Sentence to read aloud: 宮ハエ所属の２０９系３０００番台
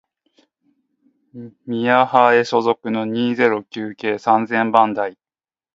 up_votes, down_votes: 0, 2